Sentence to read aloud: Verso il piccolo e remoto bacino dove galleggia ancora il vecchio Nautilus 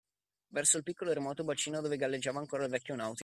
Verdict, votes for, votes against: rejected, 0, 2